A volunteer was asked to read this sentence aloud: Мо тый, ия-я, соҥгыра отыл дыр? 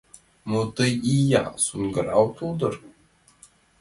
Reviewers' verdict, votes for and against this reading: accepted, 2, 1